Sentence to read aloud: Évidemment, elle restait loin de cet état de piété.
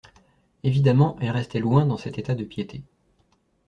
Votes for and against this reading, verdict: 1, 2, rejected